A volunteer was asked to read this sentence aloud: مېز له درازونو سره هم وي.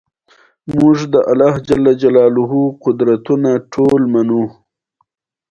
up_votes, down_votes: 1, 2